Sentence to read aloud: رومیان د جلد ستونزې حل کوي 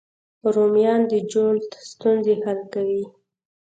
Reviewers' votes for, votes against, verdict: 2, 0, accepted